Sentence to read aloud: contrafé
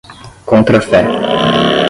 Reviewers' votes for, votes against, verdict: 5, 5, rejected